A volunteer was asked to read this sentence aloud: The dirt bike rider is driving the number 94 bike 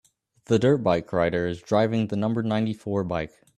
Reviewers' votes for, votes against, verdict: 0, 2, rejected